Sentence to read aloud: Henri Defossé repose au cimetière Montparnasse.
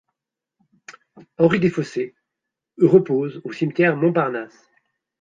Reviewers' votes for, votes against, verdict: 1, 2, rejected